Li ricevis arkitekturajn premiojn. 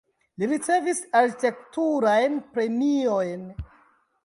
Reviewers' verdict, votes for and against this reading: rejected, 1, 2